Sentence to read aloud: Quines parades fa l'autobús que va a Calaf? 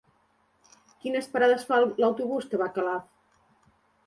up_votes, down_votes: 0, 2